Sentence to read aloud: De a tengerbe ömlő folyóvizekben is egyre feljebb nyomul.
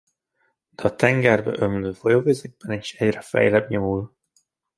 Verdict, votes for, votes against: rejected, 0, 2